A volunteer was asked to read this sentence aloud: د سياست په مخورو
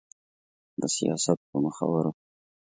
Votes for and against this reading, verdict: 2, 0, accepted